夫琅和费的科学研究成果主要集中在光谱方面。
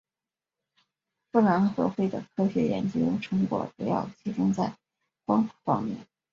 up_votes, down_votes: 6, 0